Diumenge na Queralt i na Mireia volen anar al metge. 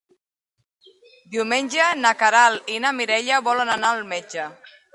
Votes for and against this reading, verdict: 3, 1, accepted